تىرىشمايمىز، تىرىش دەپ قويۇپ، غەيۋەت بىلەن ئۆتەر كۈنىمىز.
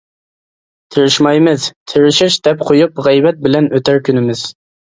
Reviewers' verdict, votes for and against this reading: rejected, 1, 2